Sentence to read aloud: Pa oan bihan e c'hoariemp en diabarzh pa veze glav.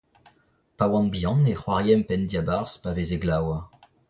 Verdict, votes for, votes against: rejected, 0, 2